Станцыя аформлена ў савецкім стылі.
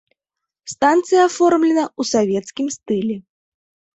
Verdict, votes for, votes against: accepted, 2, 0